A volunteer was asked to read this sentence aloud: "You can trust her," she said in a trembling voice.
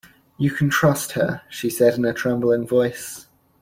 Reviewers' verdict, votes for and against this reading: accepted, 2, 0